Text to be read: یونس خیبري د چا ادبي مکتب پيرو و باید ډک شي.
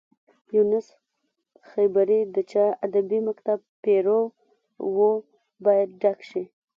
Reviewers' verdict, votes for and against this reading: rejected, 1, 2